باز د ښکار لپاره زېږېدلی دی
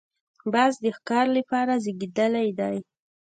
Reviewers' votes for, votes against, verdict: 2, 1, accepted